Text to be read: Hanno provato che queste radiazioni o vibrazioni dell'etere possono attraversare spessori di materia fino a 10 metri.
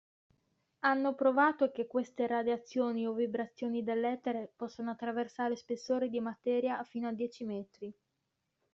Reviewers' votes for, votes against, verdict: 0, 2, rejected